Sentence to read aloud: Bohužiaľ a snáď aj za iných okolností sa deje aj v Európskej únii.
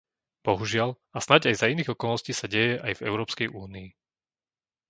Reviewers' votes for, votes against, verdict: 2, 0, accepted